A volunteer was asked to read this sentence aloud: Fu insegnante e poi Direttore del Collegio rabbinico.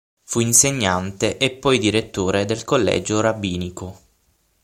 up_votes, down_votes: 6, 0